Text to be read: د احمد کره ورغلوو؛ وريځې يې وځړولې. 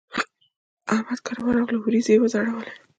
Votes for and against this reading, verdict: 1, 2, rejected